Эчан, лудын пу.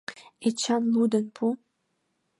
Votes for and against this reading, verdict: 2, 0, accepted